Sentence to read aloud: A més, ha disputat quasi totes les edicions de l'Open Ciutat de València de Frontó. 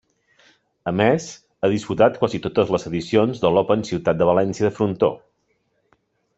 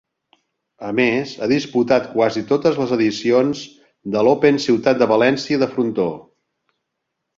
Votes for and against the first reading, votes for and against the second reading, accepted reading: 1, 3, 5, 0, second